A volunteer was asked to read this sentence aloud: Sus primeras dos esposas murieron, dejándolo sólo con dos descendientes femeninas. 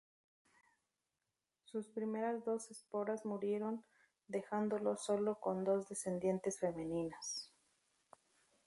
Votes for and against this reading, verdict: 0, 2, rejected